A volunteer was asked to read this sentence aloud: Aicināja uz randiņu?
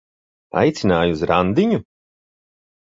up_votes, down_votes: 2, 0